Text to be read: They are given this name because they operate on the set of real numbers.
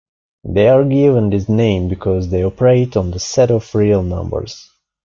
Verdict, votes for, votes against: accepted, 2, 0